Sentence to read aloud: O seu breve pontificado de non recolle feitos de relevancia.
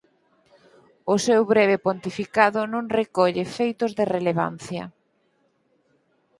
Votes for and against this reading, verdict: 2, 4, rejected